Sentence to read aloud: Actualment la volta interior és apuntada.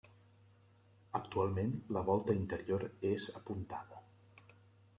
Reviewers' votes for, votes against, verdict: 3, 0, accepted